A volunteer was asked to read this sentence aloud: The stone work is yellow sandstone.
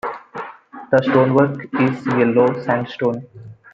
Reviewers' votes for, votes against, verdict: 2, 0, accepted